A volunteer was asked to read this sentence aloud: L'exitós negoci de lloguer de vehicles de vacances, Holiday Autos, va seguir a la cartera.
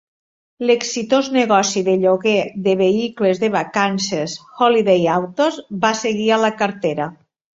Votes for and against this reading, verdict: 3, 0, accepted